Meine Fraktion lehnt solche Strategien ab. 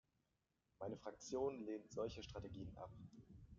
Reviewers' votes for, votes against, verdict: 0, 2, rejected